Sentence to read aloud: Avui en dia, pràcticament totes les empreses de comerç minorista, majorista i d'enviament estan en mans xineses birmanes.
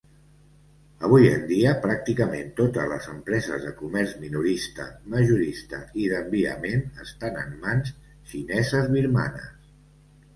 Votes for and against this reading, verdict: 2, 0, accepted